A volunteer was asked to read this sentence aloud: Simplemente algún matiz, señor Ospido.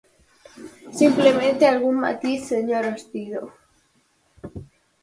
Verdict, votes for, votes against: accepted, 4, 0